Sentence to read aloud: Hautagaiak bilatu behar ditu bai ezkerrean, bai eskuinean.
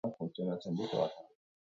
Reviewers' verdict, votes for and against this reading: rejected, 0, 4